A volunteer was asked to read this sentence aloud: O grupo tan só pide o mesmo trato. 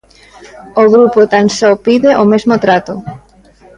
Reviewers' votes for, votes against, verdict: 2, 0, accepted